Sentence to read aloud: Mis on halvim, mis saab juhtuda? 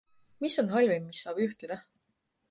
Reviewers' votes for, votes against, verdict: 2, 0, accepted